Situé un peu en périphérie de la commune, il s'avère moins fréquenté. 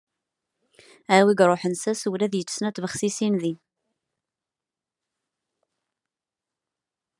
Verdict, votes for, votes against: rejected, 0, 2